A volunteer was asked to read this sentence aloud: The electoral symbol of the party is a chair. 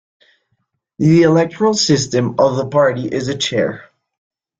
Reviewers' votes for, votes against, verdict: 1, 2, rejected